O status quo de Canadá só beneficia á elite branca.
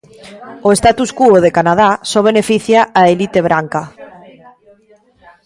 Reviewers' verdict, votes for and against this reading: accepted, 2, 0